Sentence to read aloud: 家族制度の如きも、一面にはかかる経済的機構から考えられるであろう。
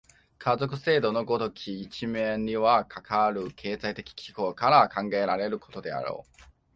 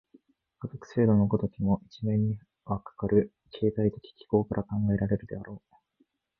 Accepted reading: first